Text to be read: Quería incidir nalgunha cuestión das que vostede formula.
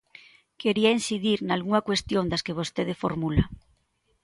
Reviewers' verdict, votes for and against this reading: accepted, 2, 0